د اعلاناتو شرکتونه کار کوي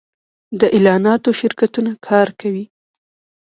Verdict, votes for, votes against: rejected, 1, 2